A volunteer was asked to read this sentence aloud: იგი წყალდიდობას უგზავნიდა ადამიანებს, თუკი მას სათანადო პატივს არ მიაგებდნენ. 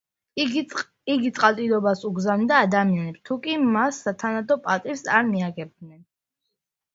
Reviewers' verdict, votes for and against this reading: accepted, 2, 0